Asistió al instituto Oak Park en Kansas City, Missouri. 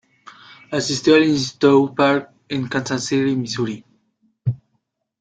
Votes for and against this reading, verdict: 1, 2, rejected